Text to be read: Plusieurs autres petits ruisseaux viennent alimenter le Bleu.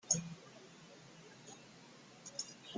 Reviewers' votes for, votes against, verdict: 0, 2, rejected